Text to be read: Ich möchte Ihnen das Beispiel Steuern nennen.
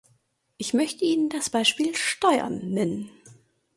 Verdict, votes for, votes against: accepted, 2, 0